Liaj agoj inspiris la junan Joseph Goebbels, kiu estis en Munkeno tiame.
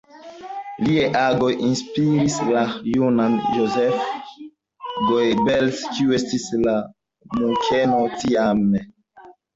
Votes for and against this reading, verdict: 0, 2, rejected